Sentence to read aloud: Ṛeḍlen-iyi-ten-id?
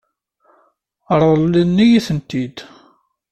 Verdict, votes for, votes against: rejected, 1, 2